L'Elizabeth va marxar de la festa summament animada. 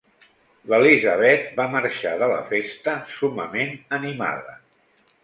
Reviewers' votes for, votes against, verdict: 2, 0, accepted